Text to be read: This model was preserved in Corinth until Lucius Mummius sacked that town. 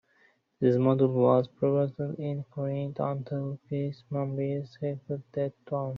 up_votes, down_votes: 1, 2